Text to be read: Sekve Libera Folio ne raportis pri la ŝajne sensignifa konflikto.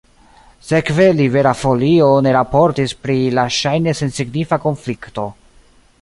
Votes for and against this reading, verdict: 1, 2, rejected